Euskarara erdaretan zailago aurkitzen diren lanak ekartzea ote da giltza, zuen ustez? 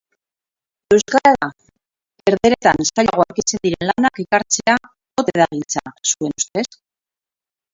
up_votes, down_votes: 0, 6